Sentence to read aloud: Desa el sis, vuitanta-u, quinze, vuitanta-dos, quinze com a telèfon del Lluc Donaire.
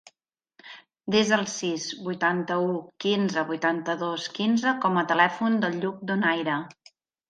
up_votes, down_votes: 4, 0